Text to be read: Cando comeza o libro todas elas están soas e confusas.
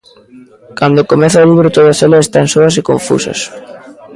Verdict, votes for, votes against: accepted, 2, 1